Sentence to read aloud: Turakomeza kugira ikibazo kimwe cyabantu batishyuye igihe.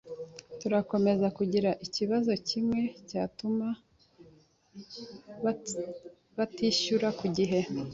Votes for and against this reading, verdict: 0, 2, rejected